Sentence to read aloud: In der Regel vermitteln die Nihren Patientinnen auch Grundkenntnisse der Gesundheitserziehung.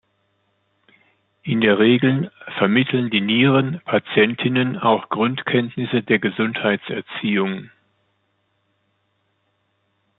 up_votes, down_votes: 1, 2